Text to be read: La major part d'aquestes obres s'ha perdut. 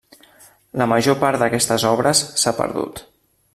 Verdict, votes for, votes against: accepted, 3, 0